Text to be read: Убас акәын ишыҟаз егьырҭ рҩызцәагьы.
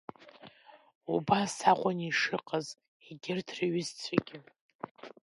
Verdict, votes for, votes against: rejected, 0, 2